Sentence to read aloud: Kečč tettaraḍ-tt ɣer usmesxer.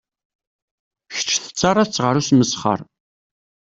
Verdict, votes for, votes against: accepted, 2, 0